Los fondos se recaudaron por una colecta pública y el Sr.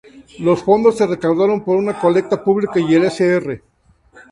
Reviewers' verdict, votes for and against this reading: rejected, 0, 2